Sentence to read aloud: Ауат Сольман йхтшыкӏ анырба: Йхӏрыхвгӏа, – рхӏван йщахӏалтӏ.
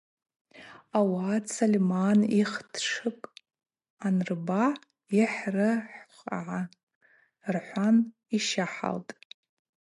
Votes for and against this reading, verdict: 2, 0, accepted